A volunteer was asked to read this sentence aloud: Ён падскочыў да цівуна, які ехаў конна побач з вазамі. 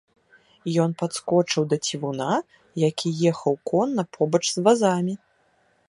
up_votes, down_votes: 2, 0